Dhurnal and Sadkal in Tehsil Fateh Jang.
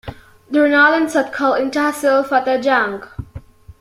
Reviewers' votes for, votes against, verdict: 2, 0, accepted